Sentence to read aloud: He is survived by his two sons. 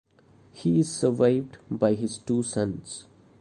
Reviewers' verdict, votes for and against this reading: rejected, 0, 2